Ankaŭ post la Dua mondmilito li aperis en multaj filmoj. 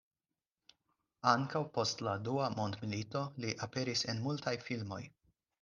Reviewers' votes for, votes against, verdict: 4, 0, accepted